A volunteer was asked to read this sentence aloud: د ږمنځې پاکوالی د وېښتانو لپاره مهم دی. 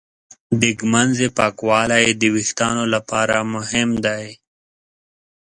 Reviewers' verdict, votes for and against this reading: accepted, 2, 0